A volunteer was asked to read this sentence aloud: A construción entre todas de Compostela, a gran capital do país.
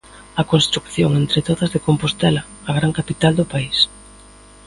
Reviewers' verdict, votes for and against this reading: rejected, 0, 2